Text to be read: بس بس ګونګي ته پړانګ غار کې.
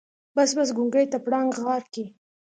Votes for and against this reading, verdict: 2, 0, accepted